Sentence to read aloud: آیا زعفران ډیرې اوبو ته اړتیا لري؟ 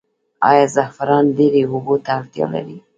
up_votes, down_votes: 1, 2